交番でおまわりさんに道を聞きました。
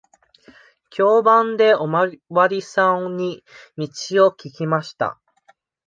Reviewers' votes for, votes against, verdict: 1, 2, rejected